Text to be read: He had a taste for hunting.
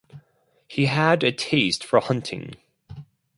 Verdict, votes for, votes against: accepted, 4, 0